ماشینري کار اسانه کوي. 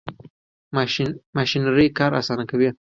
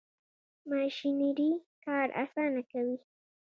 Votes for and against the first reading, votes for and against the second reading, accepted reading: 1, 2, 3, 0, second